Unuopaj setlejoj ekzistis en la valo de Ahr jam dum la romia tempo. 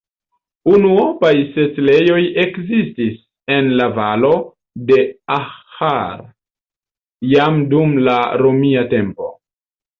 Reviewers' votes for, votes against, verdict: 0, 2, rejected